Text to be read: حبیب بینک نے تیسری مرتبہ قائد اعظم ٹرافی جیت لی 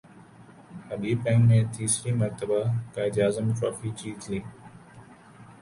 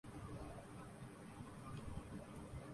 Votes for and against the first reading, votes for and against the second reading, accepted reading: 5, 2, 0, 2, first